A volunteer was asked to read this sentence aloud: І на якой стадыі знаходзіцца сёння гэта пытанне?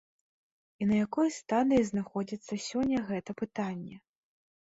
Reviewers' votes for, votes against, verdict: 2, 0, accepted